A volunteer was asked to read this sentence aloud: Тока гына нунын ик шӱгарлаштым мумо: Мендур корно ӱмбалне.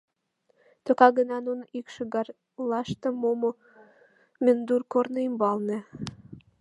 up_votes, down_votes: 1, 2